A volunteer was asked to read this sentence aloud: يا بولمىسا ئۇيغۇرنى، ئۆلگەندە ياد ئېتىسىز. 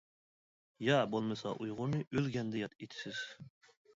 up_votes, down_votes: 2, 0